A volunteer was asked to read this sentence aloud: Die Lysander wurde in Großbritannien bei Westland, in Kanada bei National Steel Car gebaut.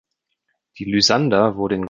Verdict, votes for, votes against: rejected, 0, 2